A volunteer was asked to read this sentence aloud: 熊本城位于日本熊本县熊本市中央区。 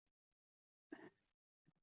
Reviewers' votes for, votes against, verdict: 0, 2, rejected